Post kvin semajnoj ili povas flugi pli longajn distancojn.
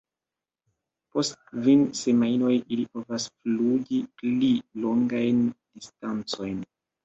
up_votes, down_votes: 0, 3